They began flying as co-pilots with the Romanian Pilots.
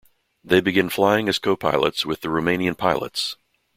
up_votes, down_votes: 1, 2